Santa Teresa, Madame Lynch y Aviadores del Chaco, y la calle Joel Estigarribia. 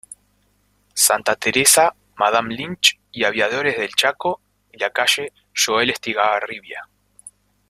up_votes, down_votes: 1, 3